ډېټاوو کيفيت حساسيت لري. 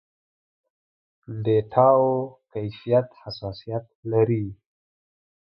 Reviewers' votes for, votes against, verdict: 2, 0, accepted